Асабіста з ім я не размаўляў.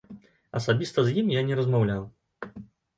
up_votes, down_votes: 2, 0